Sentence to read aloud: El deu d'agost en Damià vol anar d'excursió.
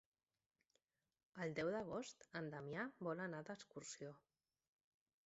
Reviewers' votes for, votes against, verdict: 2, 0, accepted